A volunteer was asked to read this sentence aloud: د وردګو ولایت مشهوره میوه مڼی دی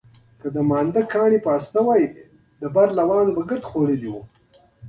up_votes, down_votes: 0, 2